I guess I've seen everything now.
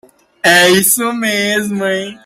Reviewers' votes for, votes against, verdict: 0, 2, rejected